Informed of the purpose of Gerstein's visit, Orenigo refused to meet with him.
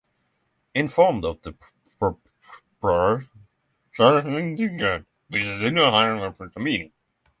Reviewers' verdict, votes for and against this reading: rejected, 0, 6